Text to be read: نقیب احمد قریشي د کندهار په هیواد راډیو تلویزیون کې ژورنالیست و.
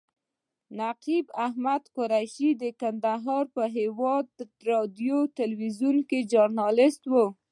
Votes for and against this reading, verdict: 2, 0, accepted